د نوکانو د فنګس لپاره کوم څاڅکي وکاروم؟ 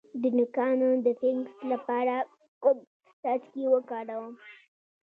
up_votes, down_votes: 2, 1